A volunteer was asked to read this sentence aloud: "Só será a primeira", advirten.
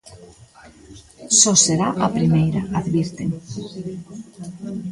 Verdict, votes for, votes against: rejected, 0, 2